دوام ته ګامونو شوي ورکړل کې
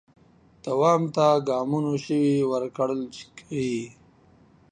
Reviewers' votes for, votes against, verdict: 0, 2, rejected